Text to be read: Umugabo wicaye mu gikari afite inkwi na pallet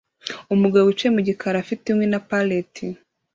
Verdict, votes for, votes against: accepted, 2, 0